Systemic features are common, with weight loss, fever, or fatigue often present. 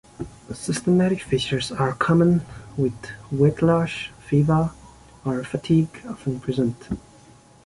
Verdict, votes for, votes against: accepted, 2, 0